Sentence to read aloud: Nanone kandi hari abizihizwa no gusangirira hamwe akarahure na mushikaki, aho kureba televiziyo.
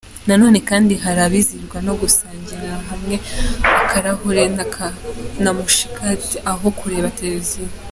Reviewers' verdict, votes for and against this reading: accepted, 2, 0